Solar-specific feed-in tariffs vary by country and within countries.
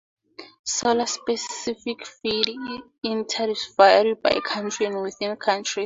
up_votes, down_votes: 2, 0